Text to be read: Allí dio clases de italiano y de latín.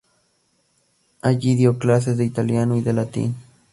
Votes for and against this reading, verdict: 2, 0, accepted